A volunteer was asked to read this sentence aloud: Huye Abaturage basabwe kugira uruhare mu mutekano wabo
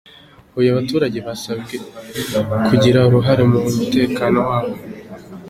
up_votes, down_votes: 2, 0